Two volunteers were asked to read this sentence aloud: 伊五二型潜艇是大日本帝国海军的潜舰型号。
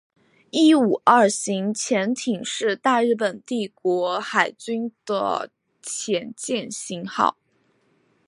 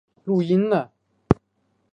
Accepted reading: first